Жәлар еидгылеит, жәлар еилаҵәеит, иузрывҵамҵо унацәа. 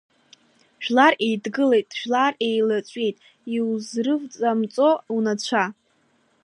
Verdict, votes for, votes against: rejected, 1, 2